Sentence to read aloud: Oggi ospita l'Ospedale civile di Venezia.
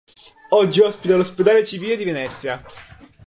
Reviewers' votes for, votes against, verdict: 1, 2, rejected